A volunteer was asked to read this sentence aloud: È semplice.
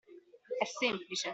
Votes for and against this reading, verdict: 2, 0, accepted